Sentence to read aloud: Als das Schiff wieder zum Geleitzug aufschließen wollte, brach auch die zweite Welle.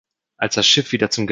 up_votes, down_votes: 0, 2